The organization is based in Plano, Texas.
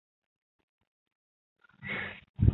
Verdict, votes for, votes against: rejected, 0, 2